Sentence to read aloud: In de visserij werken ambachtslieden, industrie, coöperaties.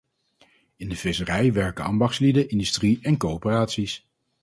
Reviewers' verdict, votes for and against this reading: rejected, 0, 4